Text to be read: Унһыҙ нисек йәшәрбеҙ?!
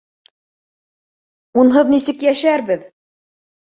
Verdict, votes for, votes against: accepted, 2, 0